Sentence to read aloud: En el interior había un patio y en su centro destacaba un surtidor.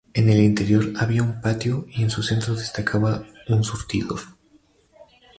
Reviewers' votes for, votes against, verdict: 2, 0, accepted